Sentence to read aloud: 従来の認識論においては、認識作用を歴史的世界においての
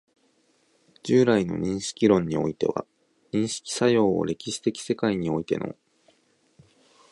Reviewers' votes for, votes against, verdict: 2, 0, accepted